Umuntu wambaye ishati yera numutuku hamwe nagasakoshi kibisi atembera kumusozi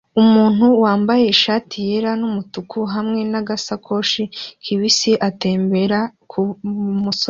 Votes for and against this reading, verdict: 2, 0, accepted